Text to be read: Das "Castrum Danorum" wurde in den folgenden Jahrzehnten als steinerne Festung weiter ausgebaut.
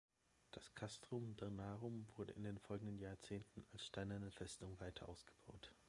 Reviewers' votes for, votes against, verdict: 0, 2, rejected